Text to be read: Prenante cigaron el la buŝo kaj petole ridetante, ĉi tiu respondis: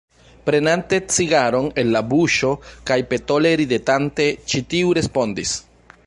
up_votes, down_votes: 1, 2